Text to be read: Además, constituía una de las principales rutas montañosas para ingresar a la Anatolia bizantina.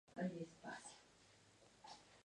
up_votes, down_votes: 0, 2